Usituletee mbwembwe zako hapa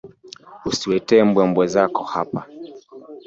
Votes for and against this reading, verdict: 1, 2, rejected